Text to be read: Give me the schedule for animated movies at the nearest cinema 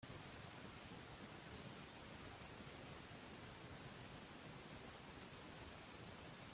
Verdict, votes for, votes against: rejected, 0, 2